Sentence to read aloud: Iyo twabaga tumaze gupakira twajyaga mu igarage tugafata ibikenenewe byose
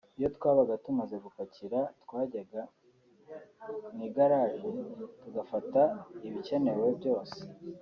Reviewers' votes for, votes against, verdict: 2, 0, accepted